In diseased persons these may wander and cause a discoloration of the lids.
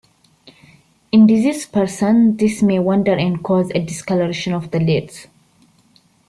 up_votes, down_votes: 3, 0